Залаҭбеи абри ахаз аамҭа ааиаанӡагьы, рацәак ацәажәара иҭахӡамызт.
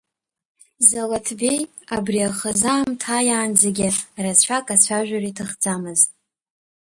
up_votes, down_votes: 1, 2